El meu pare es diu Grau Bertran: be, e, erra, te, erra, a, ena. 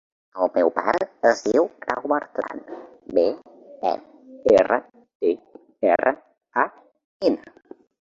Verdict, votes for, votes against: rejected, 0, 3